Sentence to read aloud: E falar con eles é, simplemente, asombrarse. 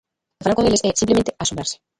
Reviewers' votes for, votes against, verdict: 0, 2, rejected